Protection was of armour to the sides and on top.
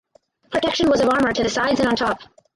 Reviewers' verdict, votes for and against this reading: rejected, 0, 4